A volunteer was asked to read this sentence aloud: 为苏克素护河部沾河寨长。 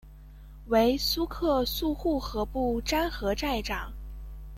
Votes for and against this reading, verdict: 2, 0, accepted